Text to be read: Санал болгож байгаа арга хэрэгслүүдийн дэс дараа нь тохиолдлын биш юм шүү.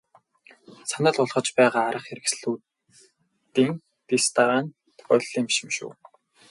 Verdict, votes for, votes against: rejected, 0, 2